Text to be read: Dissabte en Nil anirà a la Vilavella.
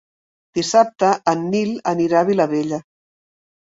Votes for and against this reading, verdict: 1, 2, rejected